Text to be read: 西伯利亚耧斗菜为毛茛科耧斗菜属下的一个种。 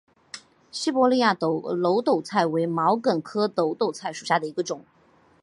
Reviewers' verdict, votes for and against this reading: accepted, 3, 0